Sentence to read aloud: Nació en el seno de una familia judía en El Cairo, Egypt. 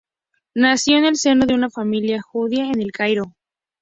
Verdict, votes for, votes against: rejected, 2, 2